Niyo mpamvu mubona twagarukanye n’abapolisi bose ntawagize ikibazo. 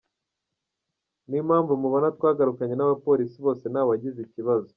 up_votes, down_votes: 2, 0